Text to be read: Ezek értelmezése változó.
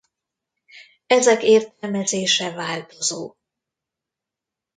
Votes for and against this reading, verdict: 1, 2, rejected